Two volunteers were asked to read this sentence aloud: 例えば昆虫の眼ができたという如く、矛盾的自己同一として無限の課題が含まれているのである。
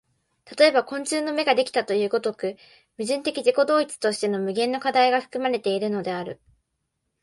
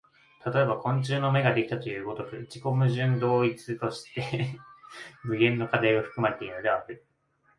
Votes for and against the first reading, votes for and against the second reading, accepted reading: 2, 1, 0, 2, first